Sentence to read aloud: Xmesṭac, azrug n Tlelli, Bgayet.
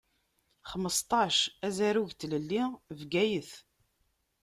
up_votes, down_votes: 1, 2